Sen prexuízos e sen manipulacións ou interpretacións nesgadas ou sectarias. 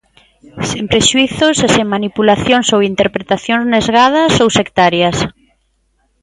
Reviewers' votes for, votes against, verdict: 0, 2, rejected